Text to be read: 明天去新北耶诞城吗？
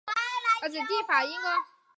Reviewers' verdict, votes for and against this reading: accepted, 2, 1